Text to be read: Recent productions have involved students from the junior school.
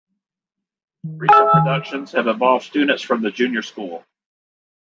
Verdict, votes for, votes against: rejected, 1, 2